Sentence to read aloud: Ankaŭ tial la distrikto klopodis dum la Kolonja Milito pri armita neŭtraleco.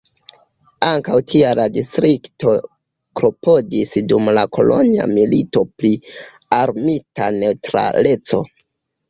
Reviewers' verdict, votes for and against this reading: accepted, 2, 0